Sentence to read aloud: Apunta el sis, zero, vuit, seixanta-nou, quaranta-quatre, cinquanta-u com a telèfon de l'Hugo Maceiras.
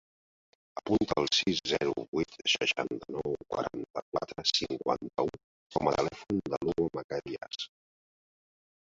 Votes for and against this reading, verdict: 3, 1, accepted